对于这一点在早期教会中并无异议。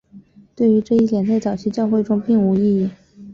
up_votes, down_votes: 2, 0